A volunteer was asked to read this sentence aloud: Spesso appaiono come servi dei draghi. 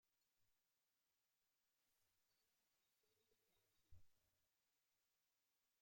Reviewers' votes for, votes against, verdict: 0, 2, rejected